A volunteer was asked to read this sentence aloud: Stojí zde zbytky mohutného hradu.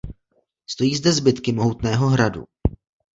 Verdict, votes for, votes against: accepted, 2, 1